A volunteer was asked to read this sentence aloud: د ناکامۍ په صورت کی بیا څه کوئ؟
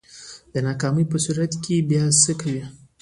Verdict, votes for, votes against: accepted, 2, 0